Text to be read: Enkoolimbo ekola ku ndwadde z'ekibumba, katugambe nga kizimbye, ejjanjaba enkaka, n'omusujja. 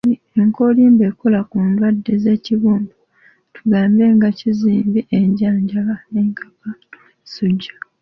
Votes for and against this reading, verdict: 0, 2, rejected